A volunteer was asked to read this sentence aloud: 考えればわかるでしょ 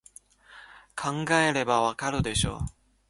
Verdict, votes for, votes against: rejected, 1, 2